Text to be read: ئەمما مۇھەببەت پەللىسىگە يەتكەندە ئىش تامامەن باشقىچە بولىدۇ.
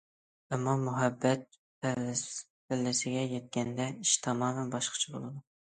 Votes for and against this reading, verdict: 1, 2, rejected